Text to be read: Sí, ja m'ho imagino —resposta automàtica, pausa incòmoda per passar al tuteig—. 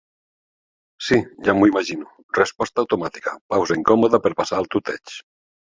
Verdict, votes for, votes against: accepted, 2, 0